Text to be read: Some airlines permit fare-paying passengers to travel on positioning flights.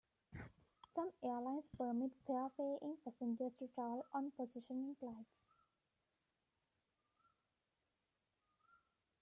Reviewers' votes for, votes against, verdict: 1, 2, rejected